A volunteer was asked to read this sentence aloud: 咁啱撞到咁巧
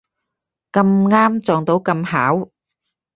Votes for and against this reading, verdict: 4, 0, accepted